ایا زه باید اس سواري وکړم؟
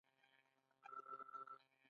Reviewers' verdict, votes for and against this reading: rejected, 0, 2